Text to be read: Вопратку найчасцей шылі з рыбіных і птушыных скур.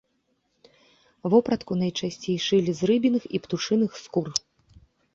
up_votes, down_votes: 2, 0